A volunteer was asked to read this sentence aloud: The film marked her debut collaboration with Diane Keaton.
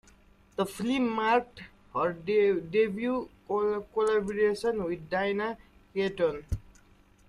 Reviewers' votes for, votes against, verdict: 0, 2, rejected